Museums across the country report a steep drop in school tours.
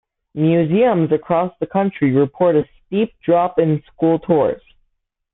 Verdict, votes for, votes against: accepted, 2, 0